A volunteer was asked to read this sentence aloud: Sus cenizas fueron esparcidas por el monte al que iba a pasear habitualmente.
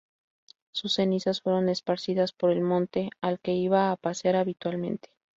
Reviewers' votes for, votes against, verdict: 2, 2, rejected